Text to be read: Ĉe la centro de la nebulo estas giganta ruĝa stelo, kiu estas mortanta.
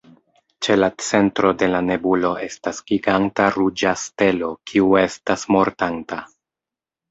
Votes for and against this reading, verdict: 1, 2, rejected